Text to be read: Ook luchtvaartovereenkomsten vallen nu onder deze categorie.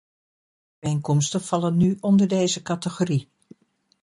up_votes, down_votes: 1, 2